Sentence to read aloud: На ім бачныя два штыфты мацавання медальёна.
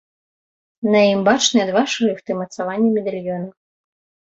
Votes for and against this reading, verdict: 1, 2, rejected